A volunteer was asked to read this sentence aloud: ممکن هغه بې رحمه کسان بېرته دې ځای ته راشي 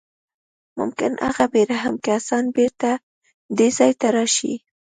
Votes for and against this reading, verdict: 3, 0, accepted